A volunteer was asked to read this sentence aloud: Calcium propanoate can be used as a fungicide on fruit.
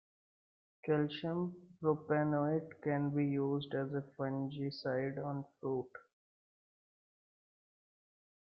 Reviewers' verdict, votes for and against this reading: accepted, 2, 1